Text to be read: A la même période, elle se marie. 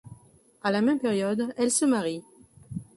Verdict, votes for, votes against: accepted, 2, 0